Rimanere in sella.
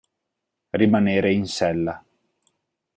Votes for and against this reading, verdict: 4, 0, accepted